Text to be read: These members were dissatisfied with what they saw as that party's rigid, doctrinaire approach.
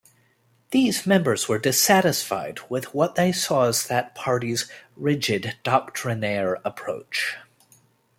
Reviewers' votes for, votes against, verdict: 2, 0, accepted